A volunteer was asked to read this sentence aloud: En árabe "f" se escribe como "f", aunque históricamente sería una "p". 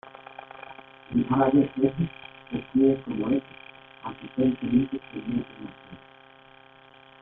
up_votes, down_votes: 0, 2